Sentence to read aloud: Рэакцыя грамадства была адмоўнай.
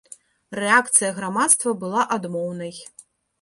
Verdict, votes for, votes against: rejected, 1, 2